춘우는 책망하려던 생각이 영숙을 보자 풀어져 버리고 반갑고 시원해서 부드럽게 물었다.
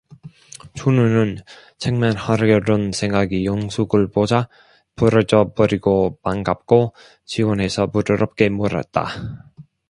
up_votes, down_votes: 1, 2